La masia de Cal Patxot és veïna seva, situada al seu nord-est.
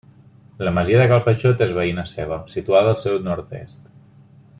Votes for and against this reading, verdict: 1, 2, rejected